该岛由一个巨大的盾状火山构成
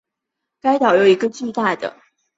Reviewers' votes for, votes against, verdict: 0, 2, rejected